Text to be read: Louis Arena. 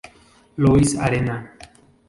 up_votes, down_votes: 0, 2